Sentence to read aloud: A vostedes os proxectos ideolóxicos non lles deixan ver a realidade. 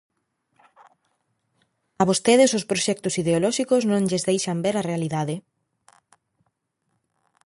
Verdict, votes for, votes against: accepted, 2, 0